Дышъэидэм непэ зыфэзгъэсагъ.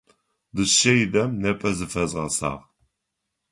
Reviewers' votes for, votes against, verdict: 2, 0, accepted